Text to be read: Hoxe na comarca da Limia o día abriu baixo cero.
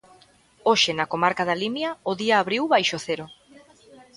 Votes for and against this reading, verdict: 1, 2, rejected